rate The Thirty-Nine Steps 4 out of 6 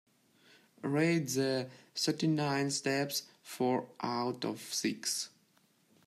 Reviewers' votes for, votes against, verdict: 0, 2, rejected